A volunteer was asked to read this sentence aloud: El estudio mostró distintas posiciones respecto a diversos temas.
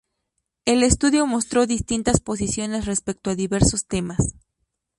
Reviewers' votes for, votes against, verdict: 2, 0, accepted